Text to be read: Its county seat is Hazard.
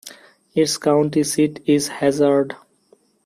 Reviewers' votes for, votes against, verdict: 1, 2, rejected